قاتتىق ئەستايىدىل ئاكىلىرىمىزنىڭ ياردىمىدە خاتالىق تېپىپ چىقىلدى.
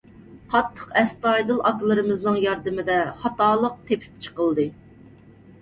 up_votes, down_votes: 2, 0